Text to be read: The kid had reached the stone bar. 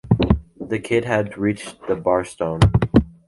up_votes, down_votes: 2, 3